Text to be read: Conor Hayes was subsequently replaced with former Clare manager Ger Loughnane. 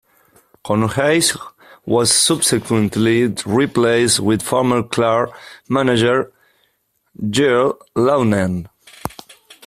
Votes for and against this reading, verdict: 0, 2, rejected